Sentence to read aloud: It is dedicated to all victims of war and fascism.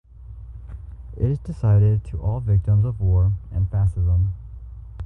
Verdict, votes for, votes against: rejected, 1, 4